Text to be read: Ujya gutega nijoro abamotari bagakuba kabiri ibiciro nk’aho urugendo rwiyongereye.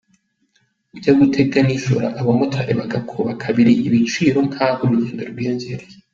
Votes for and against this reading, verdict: 2, 0, accepted